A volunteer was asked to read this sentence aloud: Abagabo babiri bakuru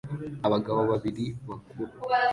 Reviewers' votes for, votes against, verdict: 2, 0, accepted